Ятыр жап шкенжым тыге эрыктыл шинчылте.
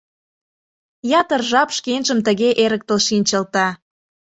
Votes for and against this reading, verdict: 2, 0, accepted